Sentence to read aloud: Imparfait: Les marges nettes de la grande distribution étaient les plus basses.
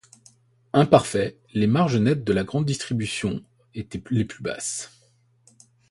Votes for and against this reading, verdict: 0, 2, rejected